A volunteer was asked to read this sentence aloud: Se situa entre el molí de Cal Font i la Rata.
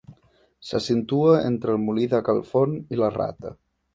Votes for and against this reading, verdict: 1, 2, rejected